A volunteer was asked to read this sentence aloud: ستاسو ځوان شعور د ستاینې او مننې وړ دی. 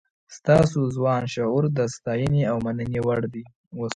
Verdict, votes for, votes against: accepted, 2, 0